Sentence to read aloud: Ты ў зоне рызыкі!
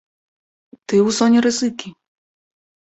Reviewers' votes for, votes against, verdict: 2, 3, rejected